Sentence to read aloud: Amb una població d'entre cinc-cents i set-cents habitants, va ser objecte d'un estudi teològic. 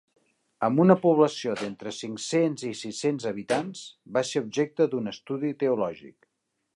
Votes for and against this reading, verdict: 0, 3, rejected